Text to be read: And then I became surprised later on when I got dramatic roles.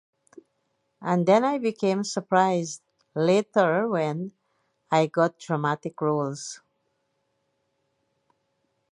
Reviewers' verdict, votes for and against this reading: rejected, 0, 2